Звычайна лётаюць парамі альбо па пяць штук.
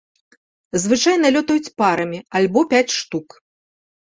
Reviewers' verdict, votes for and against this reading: rejected, 1, 2